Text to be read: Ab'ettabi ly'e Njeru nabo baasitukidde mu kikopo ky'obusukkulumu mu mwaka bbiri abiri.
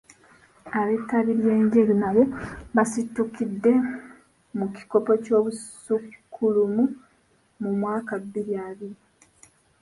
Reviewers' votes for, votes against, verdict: 1, 2, rejected